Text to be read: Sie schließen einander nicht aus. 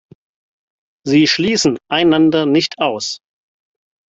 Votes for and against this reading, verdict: 4, 0, accepted